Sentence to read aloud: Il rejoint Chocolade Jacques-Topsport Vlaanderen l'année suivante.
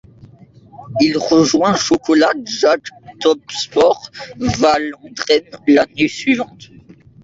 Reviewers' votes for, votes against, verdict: 0, 2, rejected